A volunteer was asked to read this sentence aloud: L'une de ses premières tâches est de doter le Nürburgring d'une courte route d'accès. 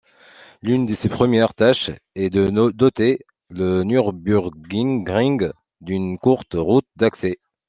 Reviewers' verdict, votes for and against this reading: rejected, 1, 2